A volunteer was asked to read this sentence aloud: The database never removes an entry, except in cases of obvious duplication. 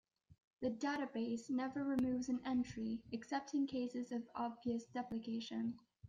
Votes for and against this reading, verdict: 0, 2, rejected